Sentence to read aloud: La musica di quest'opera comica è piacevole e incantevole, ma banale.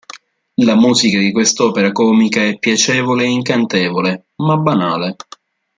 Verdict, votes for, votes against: accepted, 2, 0